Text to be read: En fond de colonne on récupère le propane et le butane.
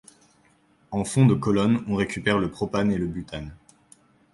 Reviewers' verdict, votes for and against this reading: accepted, 2, 0